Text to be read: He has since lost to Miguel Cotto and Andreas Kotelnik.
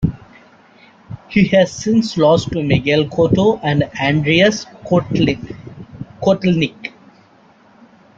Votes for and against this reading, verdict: 2, 3, rejected